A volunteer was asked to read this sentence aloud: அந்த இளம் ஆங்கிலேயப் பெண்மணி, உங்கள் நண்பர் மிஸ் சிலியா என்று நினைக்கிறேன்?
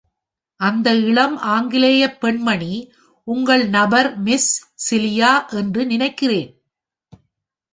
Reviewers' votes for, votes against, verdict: 0, 2, rejected